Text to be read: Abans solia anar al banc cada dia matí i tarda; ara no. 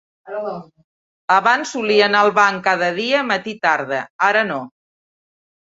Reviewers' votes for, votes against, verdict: 0, 2, rejected